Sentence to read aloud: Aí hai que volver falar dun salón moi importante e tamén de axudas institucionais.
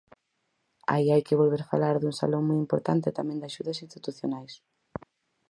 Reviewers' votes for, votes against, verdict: 4, 0, accepted